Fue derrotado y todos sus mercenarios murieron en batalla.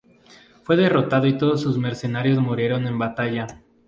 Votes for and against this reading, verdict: 2, 0, accepted